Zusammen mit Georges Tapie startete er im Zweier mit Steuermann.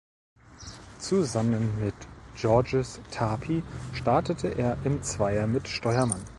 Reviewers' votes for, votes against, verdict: 2, 0, accepted